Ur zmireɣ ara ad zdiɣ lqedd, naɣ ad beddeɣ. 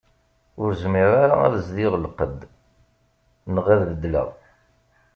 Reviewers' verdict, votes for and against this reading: rejected, 0, 2